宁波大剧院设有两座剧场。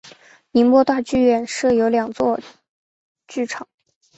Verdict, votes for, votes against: accepted, 2, 0